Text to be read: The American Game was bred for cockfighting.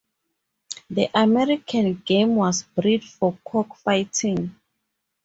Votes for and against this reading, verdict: 2, 2, rejected